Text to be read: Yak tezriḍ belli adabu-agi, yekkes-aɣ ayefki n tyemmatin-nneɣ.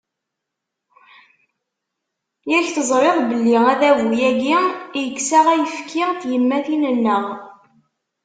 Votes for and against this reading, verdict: 1, 2, rejected